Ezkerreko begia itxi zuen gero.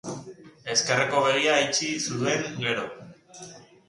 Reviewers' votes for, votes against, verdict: 0, 2, rejected